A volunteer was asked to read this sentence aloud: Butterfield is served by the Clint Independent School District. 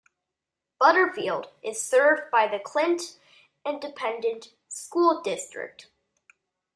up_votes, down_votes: 2, 0